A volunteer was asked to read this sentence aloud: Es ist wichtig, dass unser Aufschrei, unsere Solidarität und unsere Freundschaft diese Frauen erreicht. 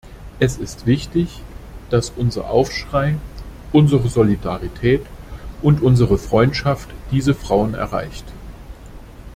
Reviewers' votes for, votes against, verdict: 2, 0, accepted